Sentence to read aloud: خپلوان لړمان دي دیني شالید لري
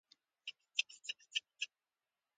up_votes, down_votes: 0, 2